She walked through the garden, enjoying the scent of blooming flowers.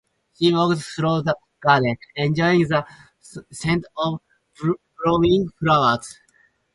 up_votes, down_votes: 0, 4